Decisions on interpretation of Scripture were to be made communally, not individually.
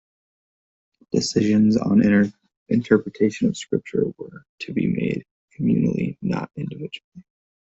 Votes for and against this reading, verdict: 2, 1, accepted